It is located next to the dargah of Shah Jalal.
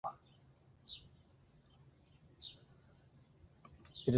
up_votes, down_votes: 1, 2